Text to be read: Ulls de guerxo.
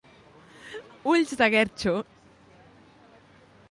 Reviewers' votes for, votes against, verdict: 2, 0, accepted